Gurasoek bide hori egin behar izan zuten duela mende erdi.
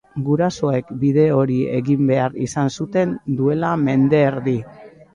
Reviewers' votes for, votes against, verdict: 2, 0, accepted